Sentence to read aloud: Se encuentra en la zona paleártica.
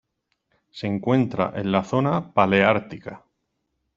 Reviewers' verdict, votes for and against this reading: accepted, 2, 0